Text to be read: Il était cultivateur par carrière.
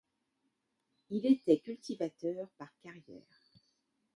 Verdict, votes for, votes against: accepted, 2, 1